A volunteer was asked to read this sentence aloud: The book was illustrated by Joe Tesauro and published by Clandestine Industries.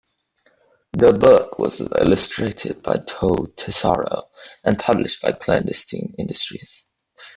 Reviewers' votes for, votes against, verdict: 2, 1, accepted